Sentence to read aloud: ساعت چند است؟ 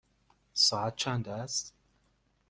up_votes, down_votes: 2, 0